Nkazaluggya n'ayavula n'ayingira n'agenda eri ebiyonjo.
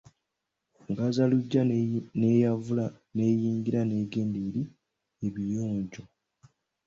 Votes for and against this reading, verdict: 0, 2, rejected